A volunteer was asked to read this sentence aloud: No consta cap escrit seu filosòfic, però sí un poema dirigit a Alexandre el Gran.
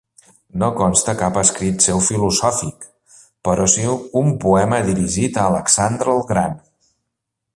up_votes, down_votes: 2, 0